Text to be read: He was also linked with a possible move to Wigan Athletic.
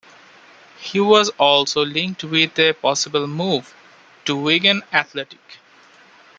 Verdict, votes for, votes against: rejected, 0, 2